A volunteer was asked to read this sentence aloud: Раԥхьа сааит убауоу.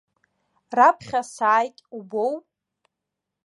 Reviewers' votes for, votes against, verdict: 0, 2, rejected